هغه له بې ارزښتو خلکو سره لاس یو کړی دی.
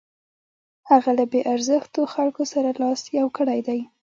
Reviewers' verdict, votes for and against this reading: rejected, 1, 2